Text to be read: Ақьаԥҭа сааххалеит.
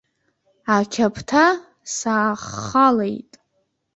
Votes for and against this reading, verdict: 2, 1, accepted